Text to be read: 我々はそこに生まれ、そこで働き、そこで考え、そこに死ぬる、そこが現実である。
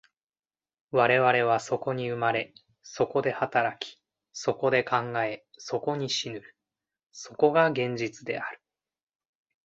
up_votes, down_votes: 2, 0